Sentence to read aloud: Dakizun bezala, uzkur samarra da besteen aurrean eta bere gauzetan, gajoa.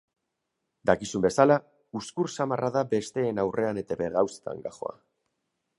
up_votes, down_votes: 0, 2